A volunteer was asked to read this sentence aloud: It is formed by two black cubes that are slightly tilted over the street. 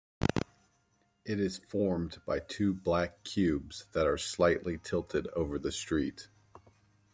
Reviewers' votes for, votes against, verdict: 2, 0, accepted